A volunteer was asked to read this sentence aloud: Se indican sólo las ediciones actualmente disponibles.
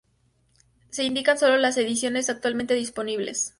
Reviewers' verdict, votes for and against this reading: accepted, 2, 0